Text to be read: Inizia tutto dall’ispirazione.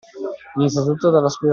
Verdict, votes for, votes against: rejected, 0, 2